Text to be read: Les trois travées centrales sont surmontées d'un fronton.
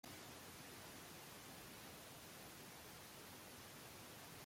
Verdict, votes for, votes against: rejected, 0, 2